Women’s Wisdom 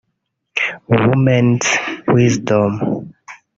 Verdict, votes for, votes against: rejected, 1, 2